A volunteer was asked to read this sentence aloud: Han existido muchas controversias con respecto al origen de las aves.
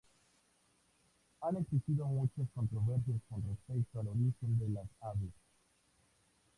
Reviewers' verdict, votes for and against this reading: accepted, 2, 0